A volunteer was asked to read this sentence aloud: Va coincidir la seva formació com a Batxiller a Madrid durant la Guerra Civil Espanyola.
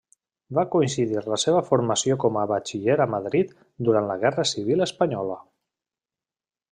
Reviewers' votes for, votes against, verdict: 3, 0, accepted